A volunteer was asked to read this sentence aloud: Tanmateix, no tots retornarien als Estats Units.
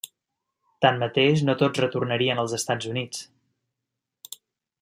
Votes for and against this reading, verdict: 3, 0, accepted